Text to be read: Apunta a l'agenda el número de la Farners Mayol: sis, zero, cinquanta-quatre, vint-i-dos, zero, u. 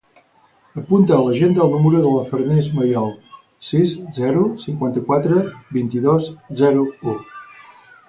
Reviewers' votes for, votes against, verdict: 2, 2, rejected